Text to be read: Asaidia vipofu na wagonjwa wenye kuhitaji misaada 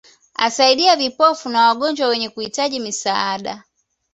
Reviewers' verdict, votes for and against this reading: accepted, 2, 1